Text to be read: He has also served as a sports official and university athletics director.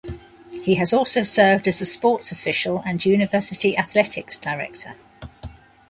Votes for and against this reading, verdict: 2, 0, accepted